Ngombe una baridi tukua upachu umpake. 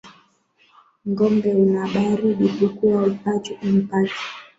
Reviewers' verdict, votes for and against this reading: rejected, 1, 2